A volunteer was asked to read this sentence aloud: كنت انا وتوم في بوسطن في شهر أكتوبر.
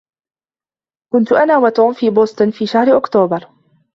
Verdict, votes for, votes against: accepted, 2, 0